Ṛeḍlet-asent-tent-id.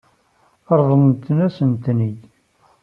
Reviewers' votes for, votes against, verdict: 1, 3, rejected